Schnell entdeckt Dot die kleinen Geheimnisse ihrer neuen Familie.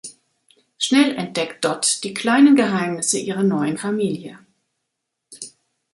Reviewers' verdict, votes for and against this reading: accepted, 2, 0